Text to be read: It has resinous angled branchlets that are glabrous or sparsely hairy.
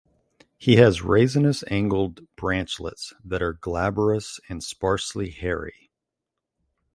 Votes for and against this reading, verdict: 0, 2, rejected